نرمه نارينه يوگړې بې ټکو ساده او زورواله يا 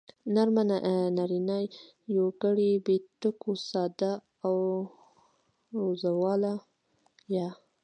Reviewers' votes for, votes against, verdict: 2, 1, accepted